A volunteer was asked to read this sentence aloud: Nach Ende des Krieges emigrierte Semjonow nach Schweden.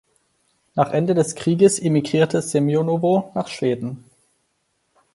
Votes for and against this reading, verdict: 2, 4, rejected